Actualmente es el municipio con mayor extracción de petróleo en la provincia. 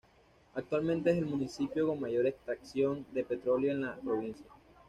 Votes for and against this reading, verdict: 2, 0, accepted